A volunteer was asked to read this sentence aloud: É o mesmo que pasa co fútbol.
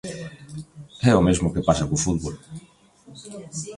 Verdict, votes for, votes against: rejected, 0, 2